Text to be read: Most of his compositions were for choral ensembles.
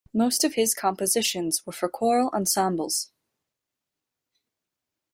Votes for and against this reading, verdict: 2, 0, accepted